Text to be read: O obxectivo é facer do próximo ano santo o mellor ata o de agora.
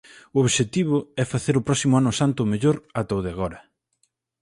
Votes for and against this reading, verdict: 24, 28, rejected